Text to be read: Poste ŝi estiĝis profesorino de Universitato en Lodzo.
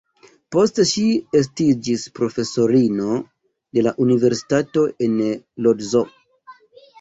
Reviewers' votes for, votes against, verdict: 1, 2, rejected